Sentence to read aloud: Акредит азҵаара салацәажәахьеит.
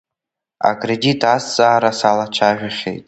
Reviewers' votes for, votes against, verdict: 2, 1, accepted